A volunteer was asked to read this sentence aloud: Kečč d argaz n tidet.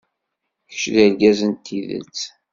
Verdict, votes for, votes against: accepted, 2, 0